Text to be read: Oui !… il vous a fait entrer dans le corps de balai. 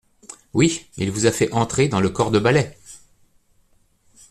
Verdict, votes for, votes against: accepted, 2, 0